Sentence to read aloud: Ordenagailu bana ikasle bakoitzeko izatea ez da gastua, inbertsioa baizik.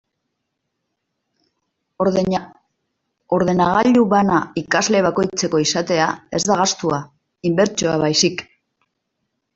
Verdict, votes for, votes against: rejected, 0, 2